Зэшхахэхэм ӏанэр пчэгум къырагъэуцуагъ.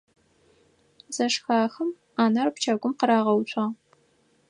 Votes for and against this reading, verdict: 2, 4, rejected